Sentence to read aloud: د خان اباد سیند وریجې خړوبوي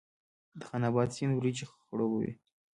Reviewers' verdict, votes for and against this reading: accepted, 2, 0